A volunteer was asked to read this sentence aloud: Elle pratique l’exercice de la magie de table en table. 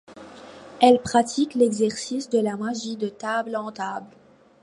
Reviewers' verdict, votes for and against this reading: accepted, 2, 0